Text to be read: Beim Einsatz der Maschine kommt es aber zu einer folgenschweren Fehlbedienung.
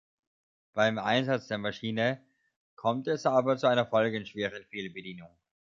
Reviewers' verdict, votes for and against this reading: accepted, 2, 0